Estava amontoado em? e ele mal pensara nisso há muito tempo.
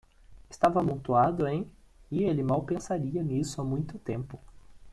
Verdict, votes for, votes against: rejected, 0, 2